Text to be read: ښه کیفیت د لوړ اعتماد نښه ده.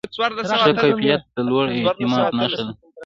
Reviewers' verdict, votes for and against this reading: accepted, 2, 0